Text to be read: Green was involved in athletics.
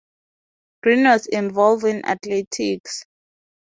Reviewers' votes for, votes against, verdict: 2, 2, rejected